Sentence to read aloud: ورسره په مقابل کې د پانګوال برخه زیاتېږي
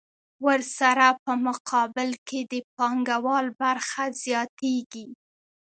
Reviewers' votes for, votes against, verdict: 2, 0, accepted